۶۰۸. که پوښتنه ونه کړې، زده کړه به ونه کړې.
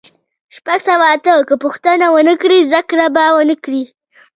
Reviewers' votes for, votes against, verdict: 0, 2, rejected